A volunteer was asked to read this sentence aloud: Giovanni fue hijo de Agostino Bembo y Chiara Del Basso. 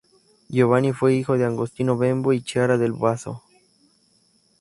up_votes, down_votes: 0, 2